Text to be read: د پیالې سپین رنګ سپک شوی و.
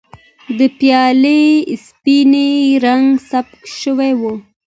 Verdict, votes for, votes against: accepted, 2, 1